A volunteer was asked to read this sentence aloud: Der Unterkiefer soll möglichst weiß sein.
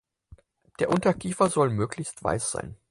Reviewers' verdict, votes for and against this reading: accepted, 4, 0